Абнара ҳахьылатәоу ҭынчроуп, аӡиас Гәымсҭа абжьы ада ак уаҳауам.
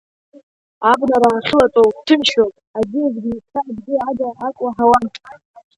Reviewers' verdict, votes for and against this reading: rejected, 0, 3